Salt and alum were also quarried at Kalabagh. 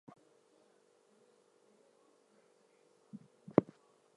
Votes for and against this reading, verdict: 2, 0, accepted